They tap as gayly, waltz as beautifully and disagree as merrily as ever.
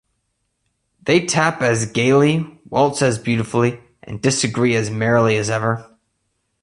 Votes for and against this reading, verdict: 3, 0, accepted